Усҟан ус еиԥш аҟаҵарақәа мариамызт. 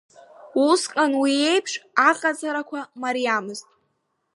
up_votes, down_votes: 0, 2